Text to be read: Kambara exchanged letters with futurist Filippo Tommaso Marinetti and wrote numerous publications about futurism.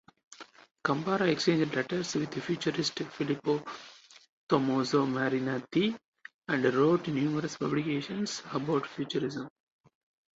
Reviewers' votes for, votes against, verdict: 4, 0, accepted